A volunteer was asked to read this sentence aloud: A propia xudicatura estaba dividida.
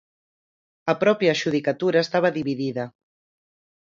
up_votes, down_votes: 4, 0